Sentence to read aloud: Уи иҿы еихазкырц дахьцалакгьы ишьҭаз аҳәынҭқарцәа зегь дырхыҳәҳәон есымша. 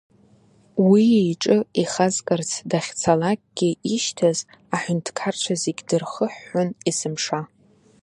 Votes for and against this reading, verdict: 0, 2, rejected